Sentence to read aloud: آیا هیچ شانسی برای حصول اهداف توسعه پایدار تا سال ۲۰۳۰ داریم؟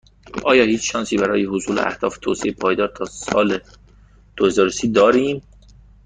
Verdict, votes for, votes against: rejected, 0, 2